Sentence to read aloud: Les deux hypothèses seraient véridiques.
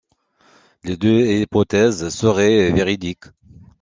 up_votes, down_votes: 1, 2